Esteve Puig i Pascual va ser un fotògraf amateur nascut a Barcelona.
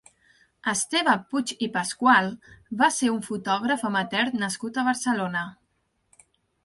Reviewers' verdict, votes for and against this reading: accepted, 3, 0